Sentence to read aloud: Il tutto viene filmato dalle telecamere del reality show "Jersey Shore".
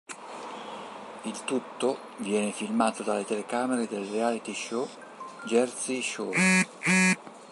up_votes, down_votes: 0, 2